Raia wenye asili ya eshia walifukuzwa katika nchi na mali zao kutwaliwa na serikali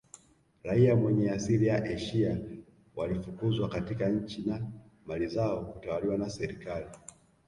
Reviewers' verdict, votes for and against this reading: rejected, 1, 2